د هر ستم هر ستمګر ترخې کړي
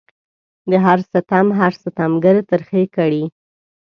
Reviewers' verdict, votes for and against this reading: accepted, 2, 0